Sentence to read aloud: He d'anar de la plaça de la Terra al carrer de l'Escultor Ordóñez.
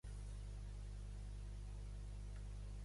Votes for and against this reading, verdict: 0, 2, rejected